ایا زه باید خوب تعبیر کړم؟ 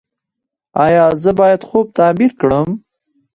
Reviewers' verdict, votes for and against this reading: rejected, 1, 2